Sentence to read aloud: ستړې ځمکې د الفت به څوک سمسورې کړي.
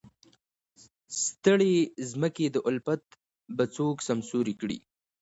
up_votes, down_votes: 1, 2